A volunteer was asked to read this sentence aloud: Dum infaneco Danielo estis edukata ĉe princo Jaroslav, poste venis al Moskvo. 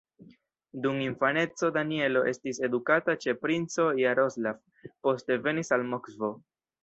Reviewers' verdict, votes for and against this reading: rejected, 1, 3